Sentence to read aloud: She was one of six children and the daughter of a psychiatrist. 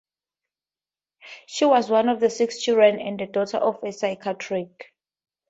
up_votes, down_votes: 2, 0